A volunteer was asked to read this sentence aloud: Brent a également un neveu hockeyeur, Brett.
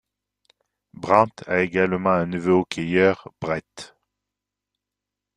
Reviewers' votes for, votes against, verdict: 0, 2, rejected